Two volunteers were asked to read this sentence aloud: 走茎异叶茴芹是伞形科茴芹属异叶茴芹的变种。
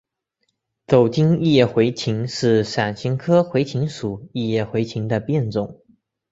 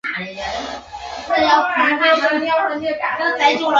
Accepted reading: first